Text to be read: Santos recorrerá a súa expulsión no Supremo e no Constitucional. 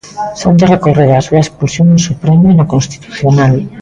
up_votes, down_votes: 1, 2